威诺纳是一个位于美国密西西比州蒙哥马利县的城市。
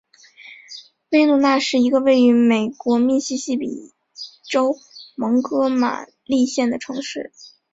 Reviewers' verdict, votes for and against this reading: accepted, 2, 0